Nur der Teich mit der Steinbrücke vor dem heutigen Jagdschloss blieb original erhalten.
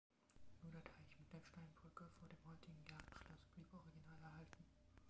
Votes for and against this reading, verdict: 0, 2, rejected